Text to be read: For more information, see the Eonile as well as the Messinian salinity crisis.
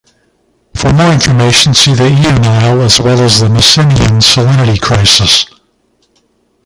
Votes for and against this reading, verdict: 0, 2, rejected